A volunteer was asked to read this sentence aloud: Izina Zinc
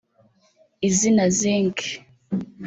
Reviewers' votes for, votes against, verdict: 0, 2, rejected